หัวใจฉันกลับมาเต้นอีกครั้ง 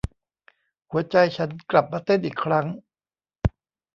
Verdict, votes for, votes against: accepted, 2, 0